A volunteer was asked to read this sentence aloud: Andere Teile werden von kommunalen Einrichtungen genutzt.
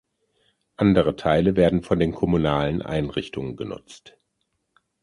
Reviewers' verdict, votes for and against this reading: rejected, 0, 2